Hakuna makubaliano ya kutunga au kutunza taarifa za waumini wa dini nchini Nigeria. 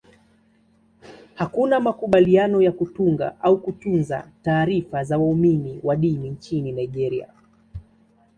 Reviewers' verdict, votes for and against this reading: accepted, 2, 0